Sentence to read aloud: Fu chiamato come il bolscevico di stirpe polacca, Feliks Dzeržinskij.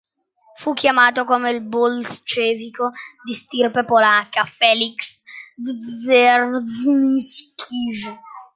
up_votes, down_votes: 0, 2